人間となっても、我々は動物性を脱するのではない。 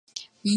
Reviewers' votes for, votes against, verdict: 3, 6, rejected